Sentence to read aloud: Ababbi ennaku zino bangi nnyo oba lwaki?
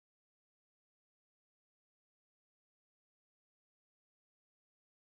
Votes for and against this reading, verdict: 0, 2, rejected